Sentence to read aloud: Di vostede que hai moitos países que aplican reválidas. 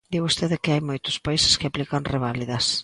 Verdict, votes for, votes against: accepted, 2, 0